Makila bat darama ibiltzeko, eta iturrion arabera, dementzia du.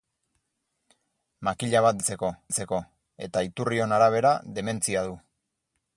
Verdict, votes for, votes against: rejected, 0, 4